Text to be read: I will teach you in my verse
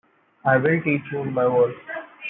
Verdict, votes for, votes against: rejected, 0, 2